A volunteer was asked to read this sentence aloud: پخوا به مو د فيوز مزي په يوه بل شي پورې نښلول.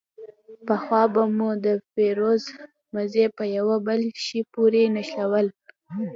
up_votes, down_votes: 1, 2